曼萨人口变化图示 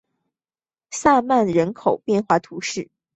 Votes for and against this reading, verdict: 1, 2, rejected